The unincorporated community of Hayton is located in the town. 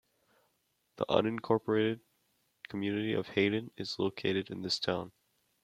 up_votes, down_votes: 0, 2